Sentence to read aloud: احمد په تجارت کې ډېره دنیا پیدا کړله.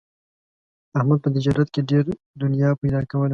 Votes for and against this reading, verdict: 0, 2, rejected